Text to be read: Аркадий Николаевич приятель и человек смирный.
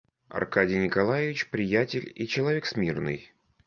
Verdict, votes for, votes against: accepted, 2, 0